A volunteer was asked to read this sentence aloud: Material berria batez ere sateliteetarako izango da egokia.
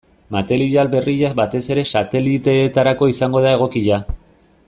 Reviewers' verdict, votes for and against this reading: accepted, 2, 0